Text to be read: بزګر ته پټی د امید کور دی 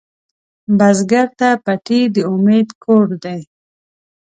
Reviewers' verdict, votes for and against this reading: rejected, 0, 2